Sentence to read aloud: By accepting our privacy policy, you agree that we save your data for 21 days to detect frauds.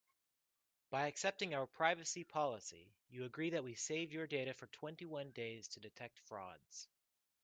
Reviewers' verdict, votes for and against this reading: rejected, 0, 2